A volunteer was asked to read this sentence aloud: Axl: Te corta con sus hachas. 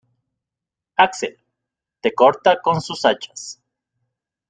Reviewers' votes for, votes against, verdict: 0, 2, rejected